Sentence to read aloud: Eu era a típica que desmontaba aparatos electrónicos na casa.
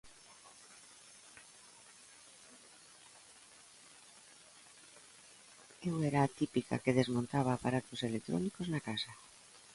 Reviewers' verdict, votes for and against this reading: accepted, 2, 1